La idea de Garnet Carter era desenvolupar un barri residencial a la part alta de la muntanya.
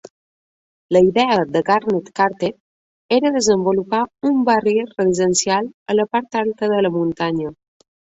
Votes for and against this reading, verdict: 2, 0, accepted